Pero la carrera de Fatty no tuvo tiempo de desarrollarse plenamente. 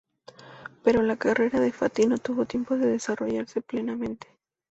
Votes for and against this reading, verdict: 2, 0, accepted